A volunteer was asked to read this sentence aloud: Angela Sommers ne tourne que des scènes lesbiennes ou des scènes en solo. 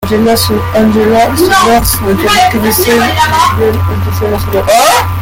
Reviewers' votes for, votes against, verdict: 0, 2, rejected